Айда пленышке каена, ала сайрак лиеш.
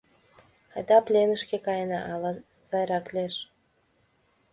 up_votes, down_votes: 2, 0